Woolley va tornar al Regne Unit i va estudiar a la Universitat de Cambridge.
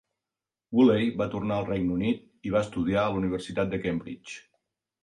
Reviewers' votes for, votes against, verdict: 3, 0, accepted